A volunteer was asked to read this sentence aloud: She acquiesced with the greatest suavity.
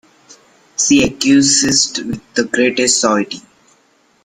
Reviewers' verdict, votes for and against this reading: rejected, 0, 2